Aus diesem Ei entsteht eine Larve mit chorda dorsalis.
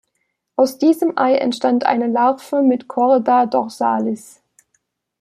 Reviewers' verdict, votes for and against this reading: rejected, 1, 2